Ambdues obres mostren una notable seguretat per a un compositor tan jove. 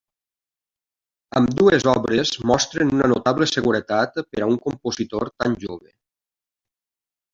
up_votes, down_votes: 1, 2